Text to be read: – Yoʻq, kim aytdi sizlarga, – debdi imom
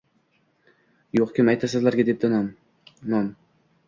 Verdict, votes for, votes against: rejected, 0, 2